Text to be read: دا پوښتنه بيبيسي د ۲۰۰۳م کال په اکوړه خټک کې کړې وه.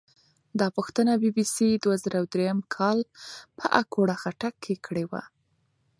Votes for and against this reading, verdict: 0, 2, rejected